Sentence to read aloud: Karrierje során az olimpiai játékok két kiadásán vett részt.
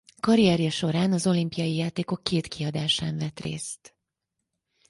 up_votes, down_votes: 4, 0